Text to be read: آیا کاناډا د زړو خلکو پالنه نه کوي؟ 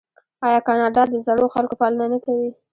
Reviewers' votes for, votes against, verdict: 1, 2, rejected